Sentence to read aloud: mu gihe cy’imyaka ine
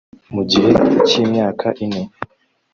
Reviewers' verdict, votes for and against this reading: rejected, 1, 2